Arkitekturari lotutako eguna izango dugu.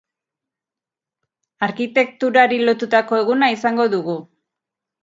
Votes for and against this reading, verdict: 2, 0, accepted